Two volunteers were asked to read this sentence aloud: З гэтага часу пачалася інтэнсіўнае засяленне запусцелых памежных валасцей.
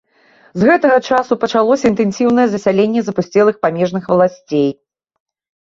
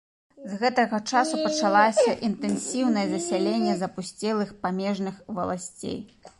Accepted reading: first